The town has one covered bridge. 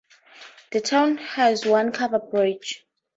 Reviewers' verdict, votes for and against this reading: accepted, 2, 0